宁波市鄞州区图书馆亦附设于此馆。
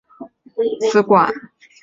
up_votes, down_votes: 0, 2